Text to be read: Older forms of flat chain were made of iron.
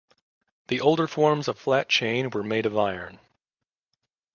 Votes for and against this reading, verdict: 0, 2, rejected